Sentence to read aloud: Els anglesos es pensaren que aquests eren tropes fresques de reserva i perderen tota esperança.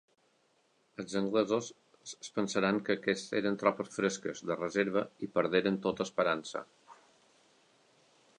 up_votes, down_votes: 1, 2